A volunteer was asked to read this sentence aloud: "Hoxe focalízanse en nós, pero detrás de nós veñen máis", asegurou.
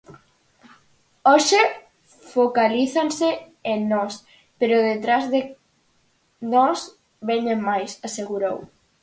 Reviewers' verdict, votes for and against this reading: accepted, 4, 0